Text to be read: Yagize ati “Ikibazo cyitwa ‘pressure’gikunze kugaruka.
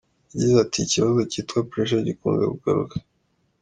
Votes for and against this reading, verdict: 2, 0, accepted